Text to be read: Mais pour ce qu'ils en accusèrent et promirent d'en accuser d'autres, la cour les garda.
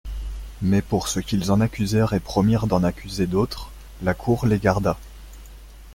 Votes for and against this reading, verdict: 2, 0, accepted